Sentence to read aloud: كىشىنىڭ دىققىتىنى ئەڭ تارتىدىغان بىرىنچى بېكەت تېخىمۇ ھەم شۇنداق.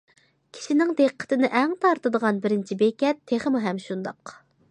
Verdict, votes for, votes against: accepted, 2, 0